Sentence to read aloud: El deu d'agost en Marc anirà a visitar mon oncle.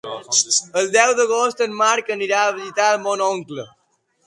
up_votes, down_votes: 1, 2